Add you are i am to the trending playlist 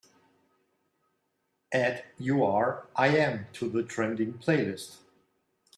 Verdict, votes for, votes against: accepted, 2, 1